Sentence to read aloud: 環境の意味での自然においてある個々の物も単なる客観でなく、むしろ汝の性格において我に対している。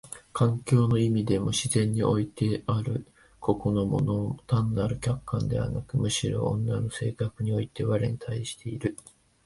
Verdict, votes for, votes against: rejected, 0, 2